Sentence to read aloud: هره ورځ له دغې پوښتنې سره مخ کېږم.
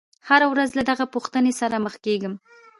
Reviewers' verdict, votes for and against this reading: accepted, 2, 0